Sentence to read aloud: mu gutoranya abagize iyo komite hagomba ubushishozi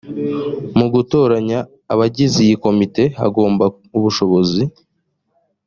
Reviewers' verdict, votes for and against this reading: rejected, 0, 2